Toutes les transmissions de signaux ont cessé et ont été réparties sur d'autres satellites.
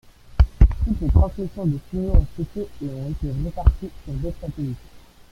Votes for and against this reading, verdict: 0, 2, rejected